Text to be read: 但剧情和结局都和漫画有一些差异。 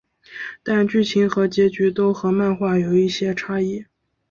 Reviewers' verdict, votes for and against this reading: accepted, 2, 0